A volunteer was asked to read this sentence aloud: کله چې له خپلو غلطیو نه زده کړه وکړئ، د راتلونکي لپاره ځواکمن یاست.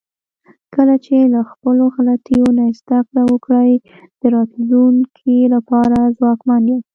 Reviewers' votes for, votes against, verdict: 1, 2, rejected